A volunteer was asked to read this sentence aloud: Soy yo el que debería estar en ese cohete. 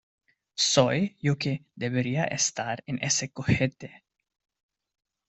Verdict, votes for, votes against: rejected, 1, 2